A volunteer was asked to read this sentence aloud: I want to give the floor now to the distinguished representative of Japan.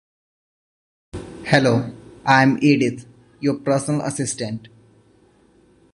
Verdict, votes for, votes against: rejected, 0, 2